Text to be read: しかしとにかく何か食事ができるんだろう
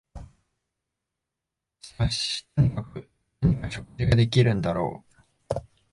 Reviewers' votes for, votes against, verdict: 0, 2, rejected